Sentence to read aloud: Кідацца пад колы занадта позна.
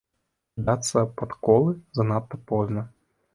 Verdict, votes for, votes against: rejected, 0, 2